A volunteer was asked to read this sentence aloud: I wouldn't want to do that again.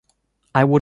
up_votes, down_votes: 0, 2